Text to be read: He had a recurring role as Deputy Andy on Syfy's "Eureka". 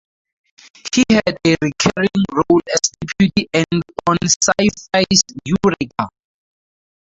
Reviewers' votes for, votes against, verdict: 0, 2, rejected